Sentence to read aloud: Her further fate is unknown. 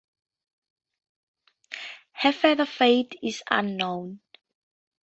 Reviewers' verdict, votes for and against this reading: accepted, 2, 0